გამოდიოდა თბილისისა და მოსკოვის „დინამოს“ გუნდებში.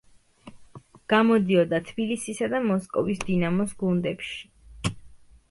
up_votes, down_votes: 2, 0